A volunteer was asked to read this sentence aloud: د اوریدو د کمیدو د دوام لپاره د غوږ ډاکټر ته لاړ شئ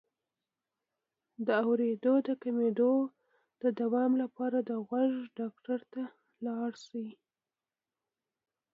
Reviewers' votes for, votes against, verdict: 2, 0, accepted